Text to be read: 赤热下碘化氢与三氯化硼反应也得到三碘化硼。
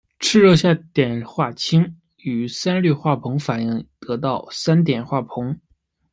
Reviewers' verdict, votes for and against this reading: rejected, 0, 2